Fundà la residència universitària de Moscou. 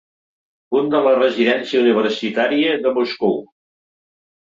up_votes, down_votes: 1, 3